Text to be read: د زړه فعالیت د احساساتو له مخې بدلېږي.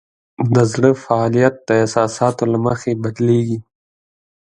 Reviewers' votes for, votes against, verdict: 3, 1, accepted